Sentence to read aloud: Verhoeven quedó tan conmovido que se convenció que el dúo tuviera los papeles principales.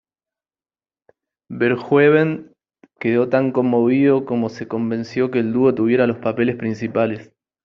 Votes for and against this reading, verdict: 1, 2, rejected